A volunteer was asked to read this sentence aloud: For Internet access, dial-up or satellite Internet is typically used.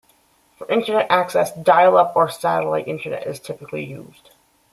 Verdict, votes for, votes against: accepted, 2, 0